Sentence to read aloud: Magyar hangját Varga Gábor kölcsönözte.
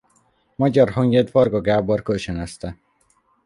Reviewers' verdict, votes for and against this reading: accepted, 2, 0